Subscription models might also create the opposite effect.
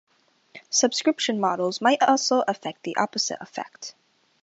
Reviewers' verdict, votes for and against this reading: rejected, 0, 2